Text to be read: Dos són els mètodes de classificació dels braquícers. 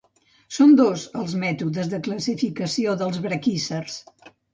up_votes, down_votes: 1, 2